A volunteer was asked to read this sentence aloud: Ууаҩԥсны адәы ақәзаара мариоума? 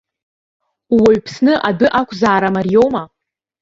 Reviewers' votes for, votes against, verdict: 2, 0, accepted